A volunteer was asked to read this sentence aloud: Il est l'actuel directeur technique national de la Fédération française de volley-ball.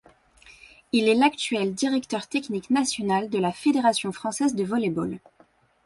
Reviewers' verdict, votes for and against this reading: accepted, 2, 0